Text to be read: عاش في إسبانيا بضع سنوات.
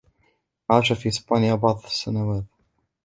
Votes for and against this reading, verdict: 0, 2, rejected